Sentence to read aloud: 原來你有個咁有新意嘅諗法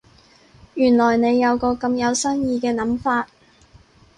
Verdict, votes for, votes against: accepted, 4, 0